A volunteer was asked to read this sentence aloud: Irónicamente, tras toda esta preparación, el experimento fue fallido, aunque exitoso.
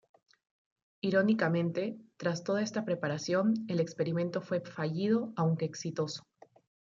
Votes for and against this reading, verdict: 0, 2, rejected